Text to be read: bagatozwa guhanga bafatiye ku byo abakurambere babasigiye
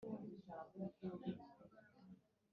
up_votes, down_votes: 1, 2